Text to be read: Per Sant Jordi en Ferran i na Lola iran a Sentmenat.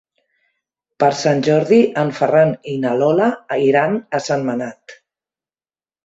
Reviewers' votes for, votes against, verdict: 1, 2, rejected